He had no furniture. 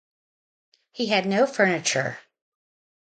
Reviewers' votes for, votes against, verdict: 0, 2, rejected